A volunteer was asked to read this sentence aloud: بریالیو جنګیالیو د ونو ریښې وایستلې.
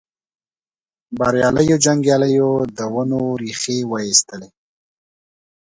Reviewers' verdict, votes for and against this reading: accepted, 2, 0